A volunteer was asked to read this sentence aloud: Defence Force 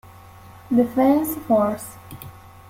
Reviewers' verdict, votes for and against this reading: rejected, 1, 2